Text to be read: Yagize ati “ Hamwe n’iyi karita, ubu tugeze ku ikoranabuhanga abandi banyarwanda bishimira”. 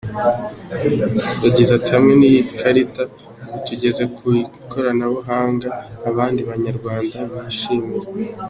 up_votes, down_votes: 2, 0